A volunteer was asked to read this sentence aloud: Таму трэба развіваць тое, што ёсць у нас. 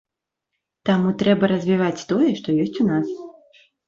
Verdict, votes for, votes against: accepted, 3, 0